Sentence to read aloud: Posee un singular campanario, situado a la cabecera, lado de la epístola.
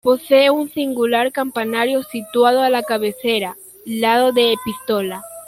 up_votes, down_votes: 1, 2